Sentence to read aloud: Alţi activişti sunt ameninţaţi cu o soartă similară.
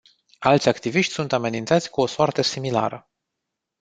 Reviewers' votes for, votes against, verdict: 2, 0, accepted